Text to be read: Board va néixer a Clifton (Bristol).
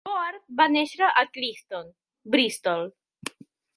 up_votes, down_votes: 1, 4